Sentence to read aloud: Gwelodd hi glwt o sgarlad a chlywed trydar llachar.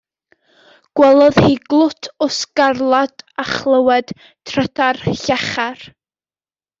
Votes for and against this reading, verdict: 2, 0, accepted